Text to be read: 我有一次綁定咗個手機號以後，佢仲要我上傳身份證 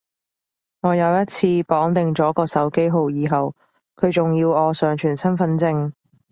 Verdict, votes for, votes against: accepted, 3, 0